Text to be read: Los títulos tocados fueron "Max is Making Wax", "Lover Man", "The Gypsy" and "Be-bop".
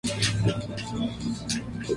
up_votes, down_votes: 0, 2